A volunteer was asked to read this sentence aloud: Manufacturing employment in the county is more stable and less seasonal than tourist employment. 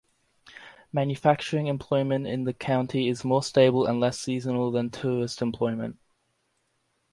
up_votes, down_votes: 2, 0